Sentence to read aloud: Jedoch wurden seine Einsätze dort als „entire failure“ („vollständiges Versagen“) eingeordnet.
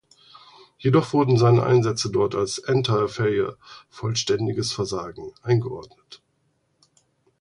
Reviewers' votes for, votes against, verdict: 2, 4, rejected